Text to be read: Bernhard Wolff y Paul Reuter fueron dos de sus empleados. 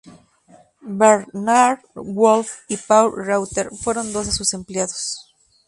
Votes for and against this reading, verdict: 0, 2, rejected